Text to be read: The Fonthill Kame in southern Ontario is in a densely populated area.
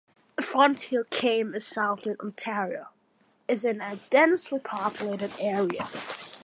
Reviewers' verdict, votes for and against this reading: accepted, 2, 1